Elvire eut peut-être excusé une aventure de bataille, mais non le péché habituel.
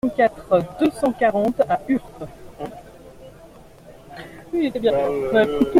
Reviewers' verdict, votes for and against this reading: rejected, 0, 2